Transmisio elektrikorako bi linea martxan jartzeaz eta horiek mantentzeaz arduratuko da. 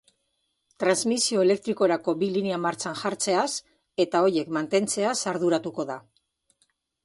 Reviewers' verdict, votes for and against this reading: accepted, 2, 0